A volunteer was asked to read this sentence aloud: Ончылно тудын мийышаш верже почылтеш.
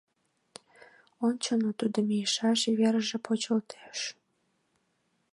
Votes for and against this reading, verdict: 4, 5, rejected